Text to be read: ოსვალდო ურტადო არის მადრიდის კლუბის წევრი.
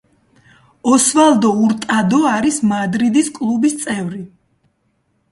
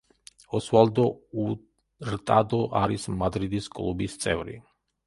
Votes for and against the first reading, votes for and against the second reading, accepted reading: 2, 0, 1, 2, first